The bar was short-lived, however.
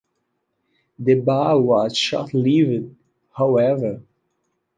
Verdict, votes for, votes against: rejected, 1, 2